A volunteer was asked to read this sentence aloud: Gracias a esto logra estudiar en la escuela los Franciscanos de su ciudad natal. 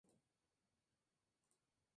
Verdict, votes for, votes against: rejected, 0, 2